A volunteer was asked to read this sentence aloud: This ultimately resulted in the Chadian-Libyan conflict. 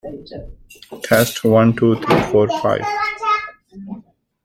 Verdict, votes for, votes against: rejected, 0, 2